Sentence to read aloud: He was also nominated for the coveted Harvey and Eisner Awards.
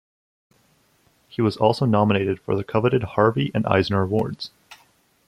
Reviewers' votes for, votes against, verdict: 2, 0, accepted